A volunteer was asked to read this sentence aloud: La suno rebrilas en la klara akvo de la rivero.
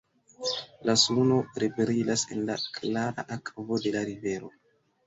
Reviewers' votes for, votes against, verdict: 0, 2, rejected